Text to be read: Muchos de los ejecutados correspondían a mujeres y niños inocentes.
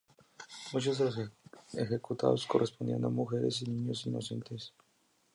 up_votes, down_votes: 4, 2